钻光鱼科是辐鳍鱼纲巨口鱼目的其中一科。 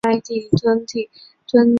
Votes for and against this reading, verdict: 2, 2, rejected